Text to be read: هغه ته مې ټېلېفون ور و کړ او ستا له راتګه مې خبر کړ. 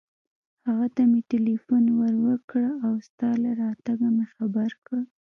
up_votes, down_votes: 1, 2